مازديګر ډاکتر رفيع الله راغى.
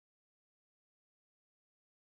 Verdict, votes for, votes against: rejected, 1, 2